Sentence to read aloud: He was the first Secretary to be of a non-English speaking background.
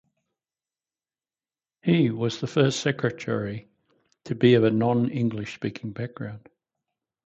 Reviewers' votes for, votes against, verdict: 2, 0, accepted